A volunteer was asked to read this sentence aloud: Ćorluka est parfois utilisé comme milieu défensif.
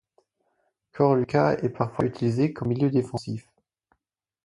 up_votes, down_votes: 4, 0